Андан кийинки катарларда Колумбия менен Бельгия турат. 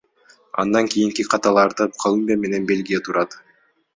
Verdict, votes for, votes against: accepted, 2, 1